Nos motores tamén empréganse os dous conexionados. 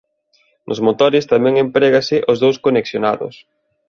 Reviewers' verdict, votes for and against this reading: rejected, 1, 2